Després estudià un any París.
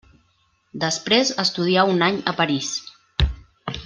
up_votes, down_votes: 1, 2